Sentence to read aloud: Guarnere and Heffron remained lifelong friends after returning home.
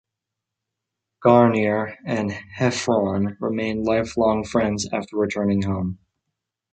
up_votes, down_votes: 2, 0